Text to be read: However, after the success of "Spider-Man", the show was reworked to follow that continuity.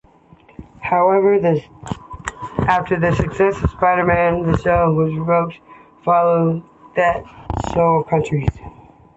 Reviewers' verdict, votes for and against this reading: rejected, 1, 3